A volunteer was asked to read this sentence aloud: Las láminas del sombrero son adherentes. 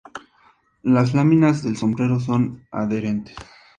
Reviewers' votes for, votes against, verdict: 2, 0, accepted